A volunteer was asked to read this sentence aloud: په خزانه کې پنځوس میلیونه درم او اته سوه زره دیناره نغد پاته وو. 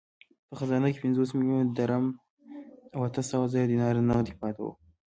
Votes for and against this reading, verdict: 1, 2, rejected